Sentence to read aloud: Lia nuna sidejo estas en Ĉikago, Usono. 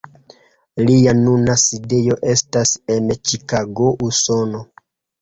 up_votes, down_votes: 0, 2